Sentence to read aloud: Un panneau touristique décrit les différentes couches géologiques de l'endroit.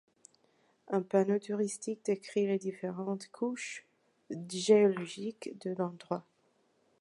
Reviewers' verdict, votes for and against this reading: accepted, 2, 0